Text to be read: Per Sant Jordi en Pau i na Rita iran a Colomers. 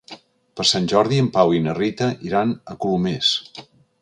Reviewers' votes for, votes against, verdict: 3, 0, accepted